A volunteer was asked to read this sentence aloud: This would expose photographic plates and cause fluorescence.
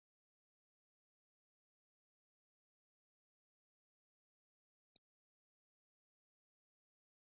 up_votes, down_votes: 0, 2